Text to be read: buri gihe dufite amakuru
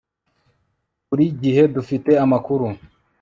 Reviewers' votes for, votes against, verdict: 2, 0, accepted